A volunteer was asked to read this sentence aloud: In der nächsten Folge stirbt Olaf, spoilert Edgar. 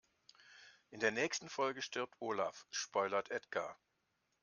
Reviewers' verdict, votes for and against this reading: rejected, 1, 2